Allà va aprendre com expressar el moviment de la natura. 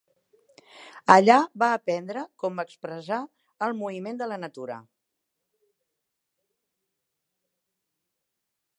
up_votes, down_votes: 2, 0